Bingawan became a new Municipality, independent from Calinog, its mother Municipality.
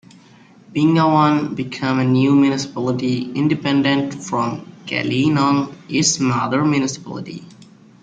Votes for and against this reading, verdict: 1, 2, rejected